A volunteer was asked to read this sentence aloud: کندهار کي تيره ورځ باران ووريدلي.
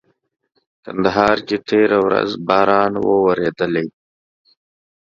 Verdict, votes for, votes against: accepted, 2, 0